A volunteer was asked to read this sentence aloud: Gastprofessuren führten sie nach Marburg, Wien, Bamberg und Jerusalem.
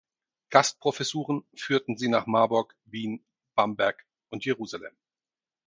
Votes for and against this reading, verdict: 4, 0, accepted